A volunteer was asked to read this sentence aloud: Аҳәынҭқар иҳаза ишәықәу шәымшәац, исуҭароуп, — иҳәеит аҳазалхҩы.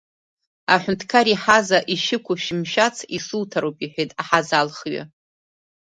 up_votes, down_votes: 1, 2